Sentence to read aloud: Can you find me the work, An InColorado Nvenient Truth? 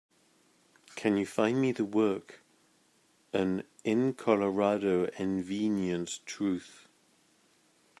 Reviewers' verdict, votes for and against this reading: accepted, 2, 0